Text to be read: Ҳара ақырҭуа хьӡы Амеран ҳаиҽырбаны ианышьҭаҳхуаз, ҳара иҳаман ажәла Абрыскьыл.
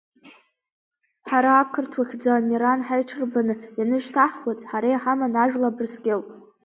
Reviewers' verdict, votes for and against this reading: accepted, 2, 0